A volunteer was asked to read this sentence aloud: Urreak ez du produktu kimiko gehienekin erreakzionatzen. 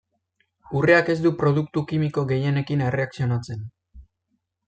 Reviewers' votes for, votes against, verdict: 2, 0, accepted